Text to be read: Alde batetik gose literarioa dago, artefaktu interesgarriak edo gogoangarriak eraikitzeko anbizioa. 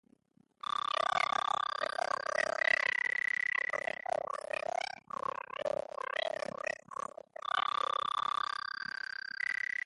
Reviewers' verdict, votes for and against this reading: rejected, 0, 3